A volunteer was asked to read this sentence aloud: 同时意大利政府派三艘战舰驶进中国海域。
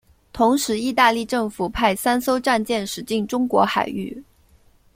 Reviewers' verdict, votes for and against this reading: accepted, 2, 0